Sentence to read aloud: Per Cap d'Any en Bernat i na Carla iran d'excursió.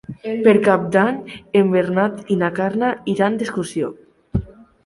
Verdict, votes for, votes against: accepted, 7, 1